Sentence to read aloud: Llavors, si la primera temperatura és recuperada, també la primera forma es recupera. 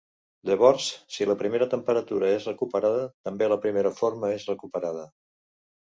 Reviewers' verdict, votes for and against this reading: rejected, 0, 2